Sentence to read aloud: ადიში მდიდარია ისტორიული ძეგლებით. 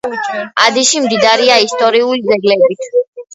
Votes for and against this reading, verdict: 1, 2, rejected